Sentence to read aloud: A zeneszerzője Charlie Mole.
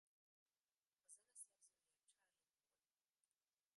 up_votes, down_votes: 0, 2